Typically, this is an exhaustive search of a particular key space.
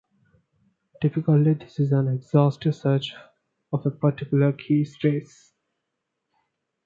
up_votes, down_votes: 2, 0